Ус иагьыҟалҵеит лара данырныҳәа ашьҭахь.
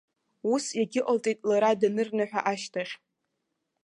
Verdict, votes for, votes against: accepted, 2, 0